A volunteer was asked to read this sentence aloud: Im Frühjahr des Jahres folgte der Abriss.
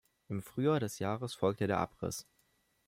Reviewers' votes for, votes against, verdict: 2, 0, accepted